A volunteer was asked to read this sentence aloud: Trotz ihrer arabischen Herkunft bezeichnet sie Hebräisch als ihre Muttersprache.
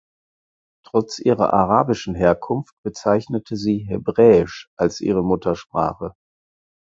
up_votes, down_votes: 0, 4